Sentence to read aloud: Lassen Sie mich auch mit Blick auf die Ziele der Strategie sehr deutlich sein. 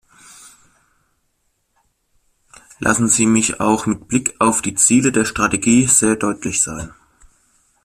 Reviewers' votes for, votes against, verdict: 2, 0, accepted